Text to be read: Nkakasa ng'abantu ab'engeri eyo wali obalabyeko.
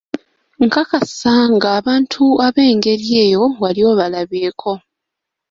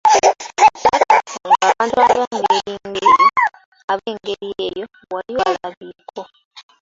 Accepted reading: first